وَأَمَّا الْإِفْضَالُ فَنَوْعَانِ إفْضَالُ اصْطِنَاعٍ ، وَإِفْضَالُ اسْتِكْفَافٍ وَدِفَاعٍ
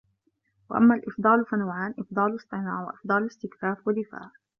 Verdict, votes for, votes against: accepted, 2, 1